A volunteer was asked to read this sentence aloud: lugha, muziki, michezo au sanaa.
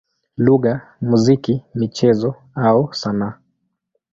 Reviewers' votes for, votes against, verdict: 2, 0, accepted